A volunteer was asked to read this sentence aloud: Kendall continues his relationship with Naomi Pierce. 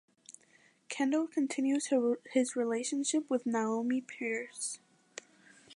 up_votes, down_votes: 1, 2